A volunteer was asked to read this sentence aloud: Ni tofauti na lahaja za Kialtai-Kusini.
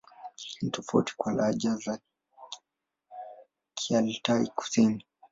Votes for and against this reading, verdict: 6, 2, accepted